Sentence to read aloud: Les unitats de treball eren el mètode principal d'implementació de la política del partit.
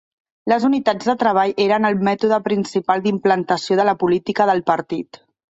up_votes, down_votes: 0, 2